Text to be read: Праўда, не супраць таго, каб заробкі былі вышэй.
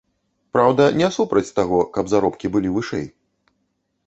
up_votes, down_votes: 2, 0